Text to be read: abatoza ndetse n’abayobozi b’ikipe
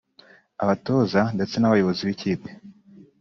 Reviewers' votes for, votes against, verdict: 1, 2, rejected